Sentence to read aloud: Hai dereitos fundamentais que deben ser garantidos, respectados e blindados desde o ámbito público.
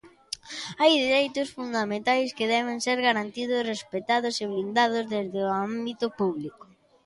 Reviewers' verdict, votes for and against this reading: accepted, 2, 0